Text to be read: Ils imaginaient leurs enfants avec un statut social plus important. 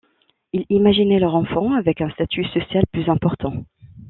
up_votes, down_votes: 1, 2